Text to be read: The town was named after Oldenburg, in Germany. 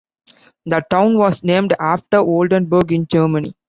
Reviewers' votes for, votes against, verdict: 2, 1, accepted